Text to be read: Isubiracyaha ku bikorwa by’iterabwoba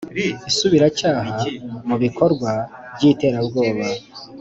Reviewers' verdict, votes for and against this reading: accepted, 2, 0